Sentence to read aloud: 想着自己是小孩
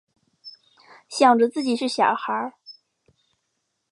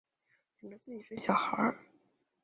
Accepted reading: first